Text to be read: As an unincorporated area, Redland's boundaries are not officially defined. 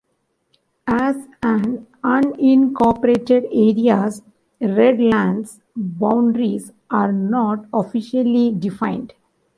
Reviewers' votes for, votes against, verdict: 0, 2, rejected